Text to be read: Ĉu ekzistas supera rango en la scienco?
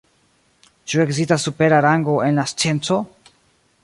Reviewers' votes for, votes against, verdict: 1, 2, rejected